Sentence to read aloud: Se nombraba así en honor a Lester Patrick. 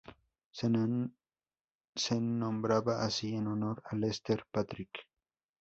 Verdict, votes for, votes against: rejected, 0, 2